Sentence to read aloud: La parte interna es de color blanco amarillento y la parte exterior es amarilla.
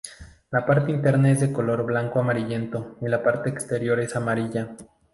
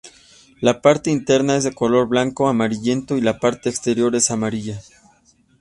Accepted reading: second